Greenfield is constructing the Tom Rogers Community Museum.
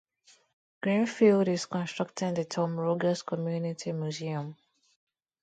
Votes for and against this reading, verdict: 2, 0, accepted